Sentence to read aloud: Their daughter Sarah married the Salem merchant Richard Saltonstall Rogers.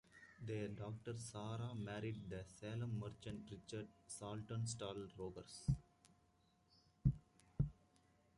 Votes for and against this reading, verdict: 2, 0, accepted